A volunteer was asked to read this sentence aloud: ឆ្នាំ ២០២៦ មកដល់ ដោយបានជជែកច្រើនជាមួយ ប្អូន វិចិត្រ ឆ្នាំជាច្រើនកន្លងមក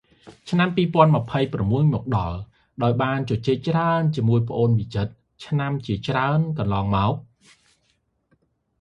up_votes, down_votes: 0, 2